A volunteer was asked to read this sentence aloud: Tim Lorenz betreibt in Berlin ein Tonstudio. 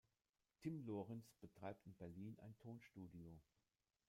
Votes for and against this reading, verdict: 0, 2, rejected